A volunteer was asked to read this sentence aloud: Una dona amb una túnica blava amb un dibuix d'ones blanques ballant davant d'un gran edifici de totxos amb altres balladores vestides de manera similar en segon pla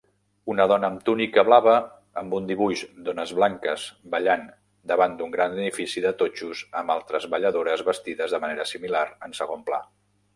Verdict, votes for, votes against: rejected, 0, 2